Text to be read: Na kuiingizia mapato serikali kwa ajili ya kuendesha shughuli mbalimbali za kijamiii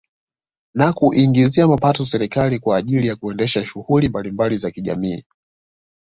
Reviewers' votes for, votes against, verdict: 2, 0, accepted